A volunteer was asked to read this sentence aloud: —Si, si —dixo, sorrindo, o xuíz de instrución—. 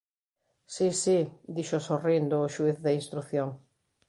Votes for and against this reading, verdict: 2, 0, accepted